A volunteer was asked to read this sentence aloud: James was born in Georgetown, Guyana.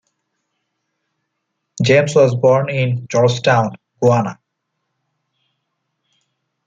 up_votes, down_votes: 2, 0